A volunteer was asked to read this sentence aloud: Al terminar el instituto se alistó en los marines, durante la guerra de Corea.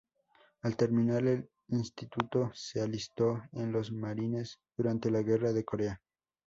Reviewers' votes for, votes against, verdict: 0, 2, rejected